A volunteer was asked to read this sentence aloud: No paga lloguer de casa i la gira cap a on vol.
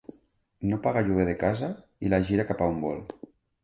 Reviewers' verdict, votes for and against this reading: accepted, 2, 0